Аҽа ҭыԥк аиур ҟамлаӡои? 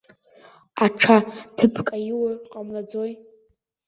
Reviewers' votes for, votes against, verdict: 0, 2, rejected